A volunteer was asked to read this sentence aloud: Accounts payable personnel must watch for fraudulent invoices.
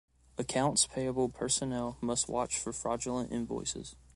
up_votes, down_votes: 2, 0